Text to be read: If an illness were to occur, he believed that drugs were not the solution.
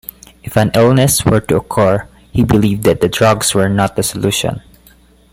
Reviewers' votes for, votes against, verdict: 1, 2, rejected